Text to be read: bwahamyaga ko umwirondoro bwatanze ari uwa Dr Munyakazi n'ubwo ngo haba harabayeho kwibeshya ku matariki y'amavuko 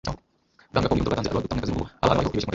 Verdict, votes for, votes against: rejected, 1, 2